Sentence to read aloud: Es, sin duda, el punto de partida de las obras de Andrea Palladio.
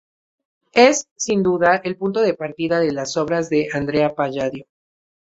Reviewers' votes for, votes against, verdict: 2, 0, accepted